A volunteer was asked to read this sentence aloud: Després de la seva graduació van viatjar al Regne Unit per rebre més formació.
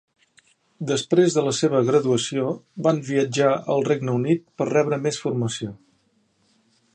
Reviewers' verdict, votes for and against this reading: accepted, 3, 0